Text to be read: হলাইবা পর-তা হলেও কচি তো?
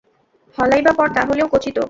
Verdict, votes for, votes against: accepted, 2, 0